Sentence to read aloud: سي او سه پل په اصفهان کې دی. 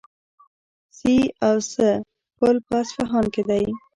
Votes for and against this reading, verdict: 0, 2, rejected